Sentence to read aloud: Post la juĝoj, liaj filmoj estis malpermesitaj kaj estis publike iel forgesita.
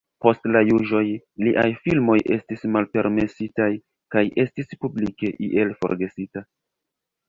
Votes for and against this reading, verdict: 0, 2, rejected